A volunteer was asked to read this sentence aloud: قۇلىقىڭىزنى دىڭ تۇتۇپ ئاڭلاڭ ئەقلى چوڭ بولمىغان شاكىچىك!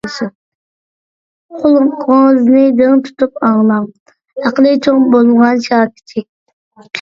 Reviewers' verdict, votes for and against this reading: rejected, 1, 2